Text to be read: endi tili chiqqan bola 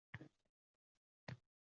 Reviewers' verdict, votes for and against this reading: rejected, 0, 2